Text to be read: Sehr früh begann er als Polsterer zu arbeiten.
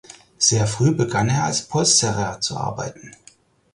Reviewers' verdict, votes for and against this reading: accepted, 4, 0